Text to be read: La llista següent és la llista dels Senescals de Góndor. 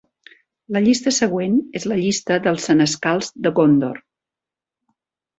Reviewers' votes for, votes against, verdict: 2, 1, accepted